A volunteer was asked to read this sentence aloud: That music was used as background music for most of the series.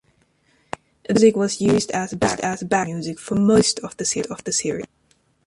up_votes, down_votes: 0, 2